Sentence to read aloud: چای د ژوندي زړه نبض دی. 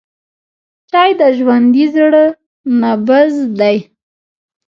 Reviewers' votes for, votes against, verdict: 0, 2, rejected